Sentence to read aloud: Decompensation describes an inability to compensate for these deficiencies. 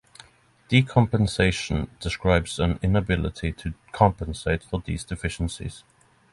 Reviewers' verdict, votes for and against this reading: accepted, 6, 0